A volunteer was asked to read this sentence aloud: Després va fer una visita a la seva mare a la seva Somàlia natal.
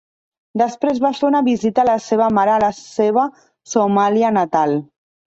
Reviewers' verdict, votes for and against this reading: rejected, 0, 2